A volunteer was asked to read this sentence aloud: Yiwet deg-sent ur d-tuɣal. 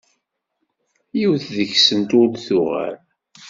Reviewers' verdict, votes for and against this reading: accepted, 2, 0